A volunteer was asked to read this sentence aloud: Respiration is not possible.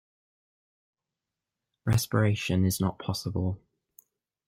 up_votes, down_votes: 1, 2